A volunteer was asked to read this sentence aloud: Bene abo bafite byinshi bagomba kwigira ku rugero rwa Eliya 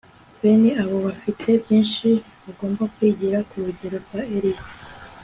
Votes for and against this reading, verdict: 2, 0, accepted